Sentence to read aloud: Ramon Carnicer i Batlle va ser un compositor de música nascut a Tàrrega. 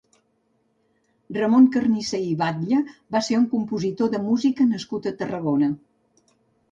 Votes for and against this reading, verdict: 2, 3, rejected